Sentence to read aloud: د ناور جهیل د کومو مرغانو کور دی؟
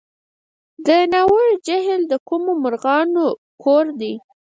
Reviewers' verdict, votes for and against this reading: rejected, 2, 4